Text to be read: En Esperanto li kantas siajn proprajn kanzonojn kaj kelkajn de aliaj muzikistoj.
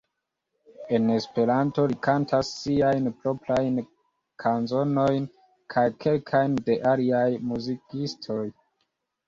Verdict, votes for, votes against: accepted, 2, 1